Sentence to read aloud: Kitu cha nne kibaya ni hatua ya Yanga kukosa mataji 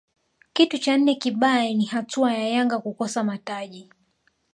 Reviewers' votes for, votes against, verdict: 1, 2, rejected